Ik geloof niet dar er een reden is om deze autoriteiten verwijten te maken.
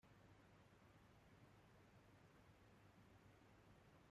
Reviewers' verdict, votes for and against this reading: rejected, 0, 2